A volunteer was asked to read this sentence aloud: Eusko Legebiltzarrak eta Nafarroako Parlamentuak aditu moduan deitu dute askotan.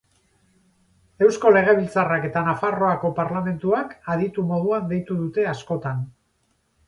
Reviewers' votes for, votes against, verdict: 8, 0, accepted